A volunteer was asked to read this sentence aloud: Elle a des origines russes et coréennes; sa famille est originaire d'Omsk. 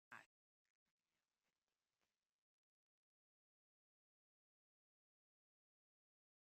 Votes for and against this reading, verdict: 0, 2, rejected